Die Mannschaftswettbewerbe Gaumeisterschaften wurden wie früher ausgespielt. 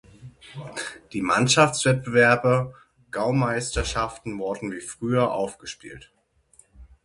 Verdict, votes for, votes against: rejected, 0, 6